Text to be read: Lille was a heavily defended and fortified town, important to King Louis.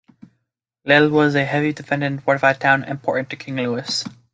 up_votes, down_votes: 1, 2